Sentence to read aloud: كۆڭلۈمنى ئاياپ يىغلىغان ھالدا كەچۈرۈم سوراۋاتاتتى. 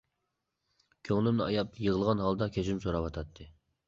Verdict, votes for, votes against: accepted, 2, 0